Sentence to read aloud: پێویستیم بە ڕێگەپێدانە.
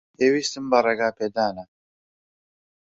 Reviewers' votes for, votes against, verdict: 2, 0, accepted